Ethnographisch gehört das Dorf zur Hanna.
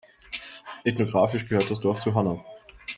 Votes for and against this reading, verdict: 2, 0, accepted